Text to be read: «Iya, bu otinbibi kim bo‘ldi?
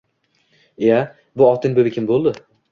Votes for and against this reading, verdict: 2, 0, accepted